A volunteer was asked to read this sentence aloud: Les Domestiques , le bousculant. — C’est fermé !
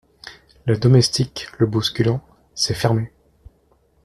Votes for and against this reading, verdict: 2, 1, accepted